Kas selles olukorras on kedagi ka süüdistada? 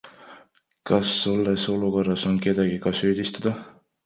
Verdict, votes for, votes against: rejected, 0, 2